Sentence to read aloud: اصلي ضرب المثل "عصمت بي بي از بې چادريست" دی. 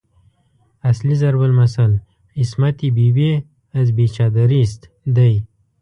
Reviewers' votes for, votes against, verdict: 1, 2, rejected